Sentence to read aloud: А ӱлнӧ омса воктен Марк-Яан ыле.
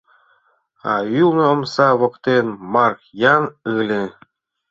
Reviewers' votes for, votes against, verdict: 1, 2, rejected